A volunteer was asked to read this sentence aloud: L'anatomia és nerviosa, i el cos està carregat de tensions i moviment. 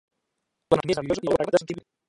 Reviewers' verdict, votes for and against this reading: rejected, 0, 2